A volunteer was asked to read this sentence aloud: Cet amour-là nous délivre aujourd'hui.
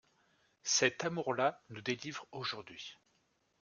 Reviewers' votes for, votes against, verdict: 2, 0, accepted